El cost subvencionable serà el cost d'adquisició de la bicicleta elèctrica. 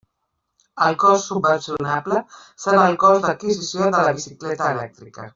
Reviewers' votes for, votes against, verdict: 1, 2, rejected